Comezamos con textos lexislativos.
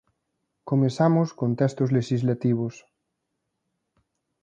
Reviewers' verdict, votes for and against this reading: accepted, 2, 1